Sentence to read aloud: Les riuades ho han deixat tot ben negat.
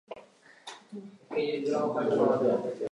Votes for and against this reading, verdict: 0, 2, rejected